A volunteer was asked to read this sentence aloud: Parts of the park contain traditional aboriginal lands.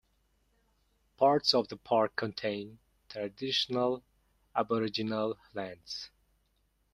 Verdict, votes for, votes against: accepted, 2, 0